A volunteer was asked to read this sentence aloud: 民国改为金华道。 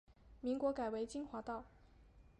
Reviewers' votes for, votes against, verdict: 5, 0, accepted